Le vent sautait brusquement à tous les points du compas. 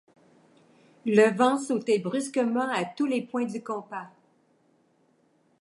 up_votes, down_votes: 2, 0